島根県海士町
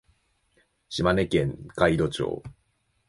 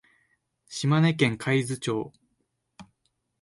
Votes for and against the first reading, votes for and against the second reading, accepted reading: 2, 1, 0, 2, first